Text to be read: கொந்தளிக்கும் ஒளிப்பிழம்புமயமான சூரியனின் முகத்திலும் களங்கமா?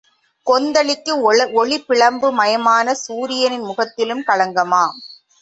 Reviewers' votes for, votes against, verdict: 1, 2, rejected